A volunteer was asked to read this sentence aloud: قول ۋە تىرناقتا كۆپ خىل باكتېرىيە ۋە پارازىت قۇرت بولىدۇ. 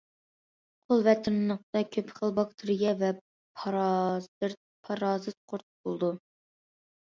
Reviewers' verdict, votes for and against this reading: rejected, 0, 2